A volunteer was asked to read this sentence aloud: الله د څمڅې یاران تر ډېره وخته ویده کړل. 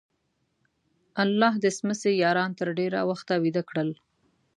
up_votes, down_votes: 2, 0